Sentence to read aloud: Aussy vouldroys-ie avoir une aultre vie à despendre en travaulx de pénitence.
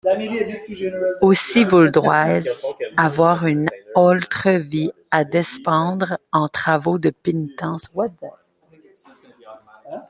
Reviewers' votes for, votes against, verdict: 1, 2, rejected